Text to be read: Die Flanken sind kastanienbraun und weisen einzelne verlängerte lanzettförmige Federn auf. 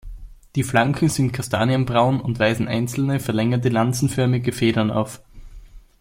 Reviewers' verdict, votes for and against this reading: rejected, 0, 2